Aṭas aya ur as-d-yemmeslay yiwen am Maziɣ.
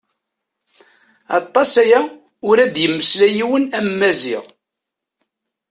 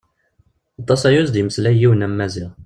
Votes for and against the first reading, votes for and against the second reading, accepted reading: 0, 2, 2, 0, second